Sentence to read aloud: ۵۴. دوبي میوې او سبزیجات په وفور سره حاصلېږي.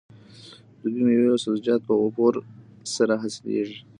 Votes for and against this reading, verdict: 0, 2, rejected